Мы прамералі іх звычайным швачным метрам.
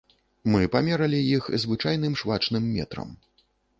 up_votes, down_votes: 0, 2